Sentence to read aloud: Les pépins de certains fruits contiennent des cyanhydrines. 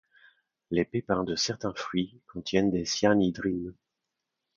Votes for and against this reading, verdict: 2, 0, accepted